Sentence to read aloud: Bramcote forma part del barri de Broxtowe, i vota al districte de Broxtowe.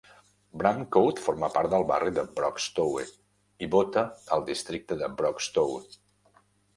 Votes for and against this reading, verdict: 0, 2, rejected